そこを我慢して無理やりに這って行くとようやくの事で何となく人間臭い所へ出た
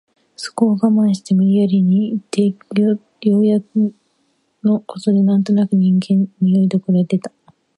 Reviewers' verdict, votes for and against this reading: rejected, 0, 2